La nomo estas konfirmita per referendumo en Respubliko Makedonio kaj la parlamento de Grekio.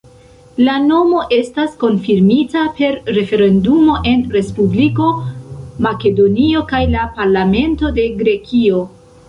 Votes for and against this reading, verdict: 2, 0, accepted